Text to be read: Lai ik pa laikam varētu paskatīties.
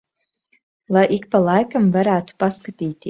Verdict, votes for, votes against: rejected, 1, 2